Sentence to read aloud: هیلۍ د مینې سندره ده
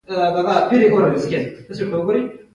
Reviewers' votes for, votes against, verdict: 1, 2, rejected